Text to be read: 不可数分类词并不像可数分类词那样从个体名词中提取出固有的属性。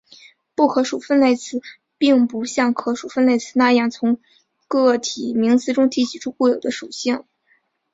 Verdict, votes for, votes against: accepted, 5, 0